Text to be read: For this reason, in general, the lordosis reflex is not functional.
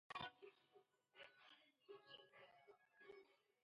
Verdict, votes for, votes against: rejected, 0, 2